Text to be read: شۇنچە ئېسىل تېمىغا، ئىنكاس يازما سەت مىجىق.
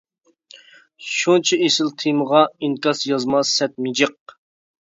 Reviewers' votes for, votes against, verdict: 2, 0, accepted